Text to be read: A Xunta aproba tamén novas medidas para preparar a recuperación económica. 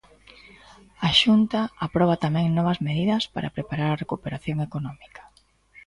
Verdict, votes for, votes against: accepted, 2, 0